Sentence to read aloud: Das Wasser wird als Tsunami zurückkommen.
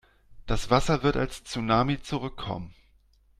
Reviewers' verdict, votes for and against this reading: accepted, 2, 0